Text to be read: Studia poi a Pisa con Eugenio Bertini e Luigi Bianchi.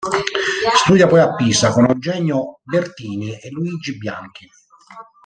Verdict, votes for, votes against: rejected, 1, 2